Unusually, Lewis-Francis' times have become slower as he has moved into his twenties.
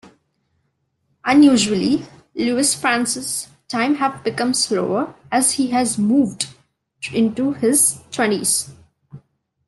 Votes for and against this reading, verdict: 0, 2, rejected